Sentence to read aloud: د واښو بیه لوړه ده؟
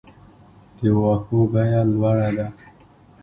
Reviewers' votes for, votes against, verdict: 2, 0, accepted